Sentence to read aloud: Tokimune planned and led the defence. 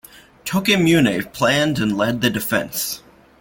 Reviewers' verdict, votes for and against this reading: accepted, 2, 0